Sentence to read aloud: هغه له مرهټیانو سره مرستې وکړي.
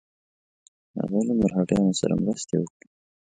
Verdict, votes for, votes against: accepted, 2, 0